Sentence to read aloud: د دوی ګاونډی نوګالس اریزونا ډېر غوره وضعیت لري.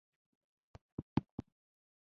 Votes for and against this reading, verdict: 0, 2, rejected